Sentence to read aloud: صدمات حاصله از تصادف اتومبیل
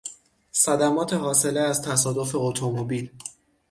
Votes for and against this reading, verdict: 6, 0, accepted